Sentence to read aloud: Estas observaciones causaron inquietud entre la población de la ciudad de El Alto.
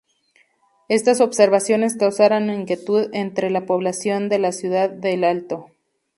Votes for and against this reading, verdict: 2, 2, rejected